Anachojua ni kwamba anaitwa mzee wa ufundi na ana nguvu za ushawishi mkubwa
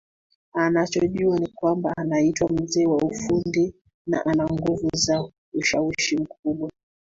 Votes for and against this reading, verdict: 2, 1, accepted